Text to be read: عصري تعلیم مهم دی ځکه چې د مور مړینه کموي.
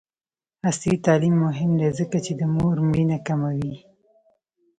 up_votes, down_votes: 0, 2